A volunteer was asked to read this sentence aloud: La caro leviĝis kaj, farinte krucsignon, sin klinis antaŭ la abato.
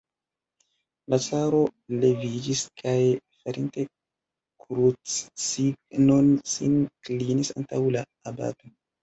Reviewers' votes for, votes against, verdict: 1, 2, rejected